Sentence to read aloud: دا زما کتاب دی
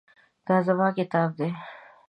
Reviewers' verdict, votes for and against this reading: accepted, 2, 0